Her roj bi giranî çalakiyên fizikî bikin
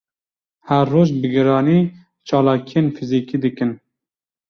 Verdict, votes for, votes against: rejected, 0, 2